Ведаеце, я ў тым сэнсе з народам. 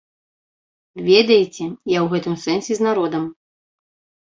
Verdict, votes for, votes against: rejected, 1, 2